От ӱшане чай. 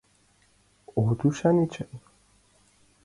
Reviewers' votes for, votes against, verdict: 2, 0, accepted